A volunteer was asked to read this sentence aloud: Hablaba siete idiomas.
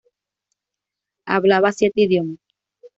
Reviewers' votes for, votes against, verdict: 2, 0, accepted